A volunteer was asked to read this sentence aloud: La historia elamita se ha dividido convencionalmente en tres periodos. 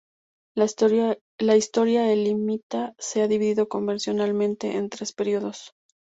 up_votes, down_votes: 0, 2